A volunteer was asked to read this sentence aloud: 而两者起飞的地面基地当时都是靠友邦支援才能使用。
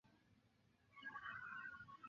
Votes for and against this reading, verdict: 2, 3, rejected